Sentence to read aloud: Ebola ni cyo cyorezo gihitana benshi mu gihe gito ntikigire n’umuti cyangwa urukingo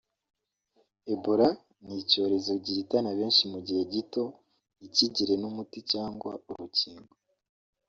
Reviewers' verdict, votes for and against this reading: accepted, 2, 1